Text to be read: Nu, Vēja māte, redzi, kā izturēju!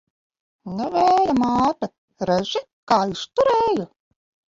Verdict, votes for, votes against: rejected, 1, 2